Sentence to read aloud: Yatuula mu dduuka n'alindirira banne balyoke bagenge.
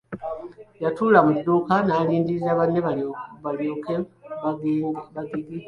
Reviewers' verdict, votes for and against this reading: rejected, 1, 2